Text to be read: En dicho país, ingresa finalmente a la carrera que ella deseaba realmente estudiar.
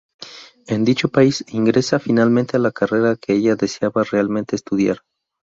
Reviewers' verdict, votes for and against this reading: accepted, 2, 0